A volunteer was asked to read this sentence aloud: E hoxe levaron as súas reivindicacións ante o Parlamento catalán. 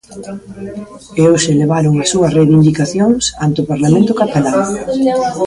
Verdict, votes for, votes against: rejected, 1, 2